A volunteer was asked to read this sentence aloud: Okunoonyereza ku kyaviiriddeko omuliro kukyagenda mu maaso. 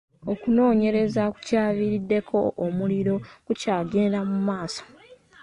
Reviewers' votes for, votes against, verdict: 2, 0, accepted